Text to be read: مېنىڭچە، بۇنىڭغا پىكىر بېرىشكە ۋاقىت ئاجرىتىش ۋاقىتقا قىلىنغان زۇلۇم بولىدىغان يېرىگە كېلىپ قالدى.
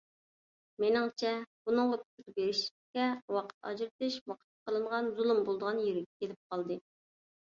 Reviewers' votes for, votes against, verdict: 2, 0, accepted